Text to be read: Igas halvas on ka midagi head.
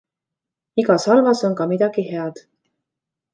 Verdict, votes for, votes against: accepted, 2, 0